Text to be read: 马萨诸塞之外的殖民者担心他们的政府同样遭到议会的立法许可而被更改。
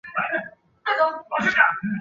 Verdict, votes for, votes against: rejected, 0, 3